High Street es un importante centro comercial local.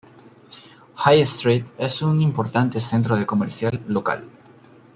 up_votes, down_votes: 1, 2